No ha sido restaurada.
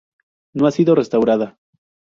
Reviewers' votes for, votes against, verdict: 0, 2, rejected